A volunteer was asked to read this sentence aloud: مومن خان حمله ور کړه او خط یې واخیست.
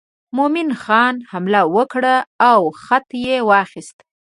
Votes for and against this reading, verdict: 2, 0, accepted